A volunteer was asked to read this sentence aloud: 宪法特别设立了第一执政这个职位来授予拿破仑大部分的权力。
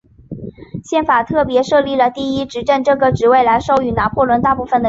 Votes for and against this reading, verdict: 1, 2, rejected